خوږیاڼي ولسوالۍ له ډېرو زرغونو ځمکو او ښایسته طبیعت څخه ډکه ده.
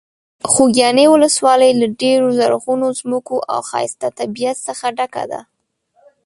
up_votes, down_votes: 1, 2